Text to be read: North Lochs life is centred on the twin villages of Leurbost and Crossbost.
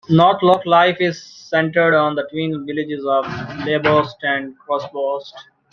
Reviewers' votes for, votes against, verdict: 2, 0, accepted